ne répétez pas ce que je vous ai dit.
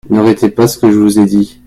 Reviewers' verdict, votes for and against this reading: rejected, 0, 2